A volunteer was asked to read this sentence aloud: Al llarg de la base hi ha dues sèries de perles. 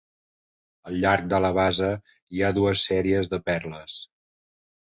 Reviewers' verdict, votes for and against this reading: accepted, 2, 0